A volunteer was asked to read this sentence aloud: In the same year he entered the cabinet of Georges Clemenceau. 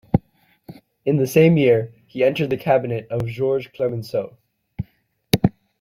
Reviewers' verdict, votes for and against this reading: accepted, 2, 0